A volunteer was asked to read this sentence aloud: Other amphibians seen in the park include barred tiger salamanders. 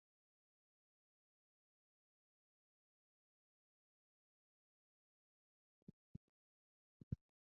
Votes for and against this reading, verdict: 0, 2, rejected